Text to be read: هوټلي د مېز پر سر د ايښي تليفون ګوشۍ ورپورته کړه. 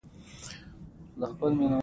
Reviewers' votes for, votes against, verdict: 1, 2, rejected